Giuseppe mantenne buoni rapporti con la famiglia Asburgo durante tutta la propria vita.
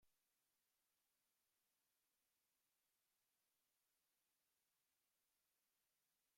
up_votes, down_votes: 0, 2